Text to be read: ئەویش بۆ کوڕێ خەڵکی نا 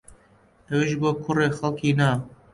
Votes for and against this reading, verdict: 2, 1, accepted